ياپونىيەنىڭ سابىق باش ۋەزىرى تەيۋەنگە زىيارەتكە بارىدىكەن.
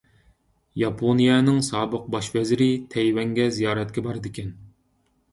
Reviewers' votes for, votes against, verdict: 2, 0, accepted